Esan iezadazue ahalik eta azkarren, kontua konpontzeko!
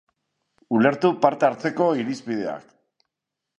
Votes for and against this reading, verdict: 0, 2, rejected